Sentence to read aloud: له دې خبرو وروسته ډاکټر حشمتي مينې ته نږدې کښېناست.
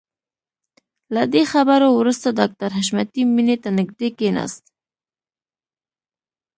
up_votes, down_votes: 2, 0